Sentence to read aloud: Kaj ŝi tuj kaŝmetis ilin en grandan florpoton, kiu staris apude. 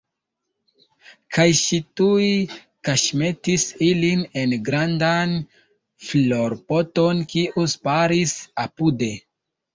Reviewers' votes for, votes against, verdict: 2, 1, accepted